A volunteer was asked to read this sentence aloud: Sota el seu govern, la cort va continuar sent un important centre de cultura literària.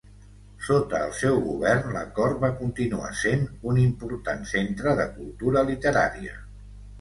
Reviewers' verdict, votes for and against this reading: accepted, 2, 0